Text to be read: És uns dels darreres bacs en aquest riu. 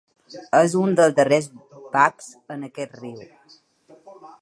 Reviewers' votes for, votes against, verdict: 0, 2, rejected